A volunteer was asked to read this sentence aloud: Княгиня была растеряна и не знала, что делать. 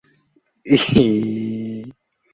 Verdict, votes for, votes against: rejected, 0, 2